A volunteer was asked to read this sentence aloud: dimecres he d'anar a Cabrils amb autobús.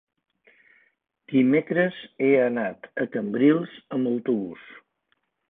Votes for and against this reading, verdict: 1, 2, rejected